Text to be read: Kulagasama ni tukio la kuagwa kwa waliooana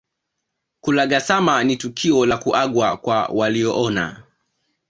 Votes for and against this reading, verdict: 2, 1, accepted